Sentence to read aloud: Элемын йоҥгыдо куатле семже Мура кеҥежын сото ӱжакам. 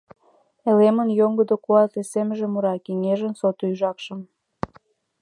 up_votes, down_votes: 1, 2